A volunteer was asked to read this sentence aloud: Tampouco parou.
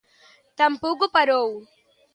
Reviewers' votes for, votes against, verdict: 2, 0, accepted